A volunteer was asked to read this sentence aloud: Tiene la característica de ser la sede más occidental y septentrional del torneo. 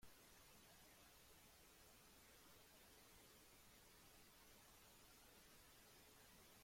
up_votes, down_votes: 0, 2